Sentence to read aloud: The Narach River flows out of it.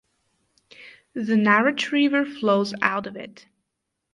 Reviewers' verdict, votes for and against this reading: accepted, 2, 0